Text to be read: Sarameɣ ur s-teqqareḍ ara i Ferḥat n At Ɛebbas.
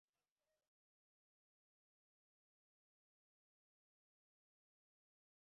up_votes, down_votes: 0, 2